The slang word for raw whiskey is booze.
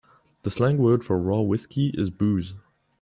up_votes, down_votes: 2, 0